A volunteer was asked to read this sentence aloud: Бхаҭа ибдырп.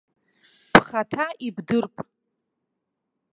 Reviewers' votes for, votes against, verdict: 1, 2, rejected